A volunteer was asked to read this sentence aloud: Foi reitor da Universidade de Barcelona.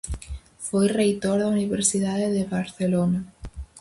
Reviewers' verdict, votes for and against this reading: accepted, 4, 0